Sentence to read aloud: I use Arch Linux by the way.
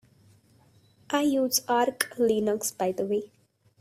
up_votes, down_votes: 1, 3